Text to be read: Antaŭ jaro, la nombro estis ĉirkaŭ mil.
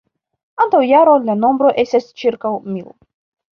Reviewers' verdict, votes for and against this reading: accepted, 2, 1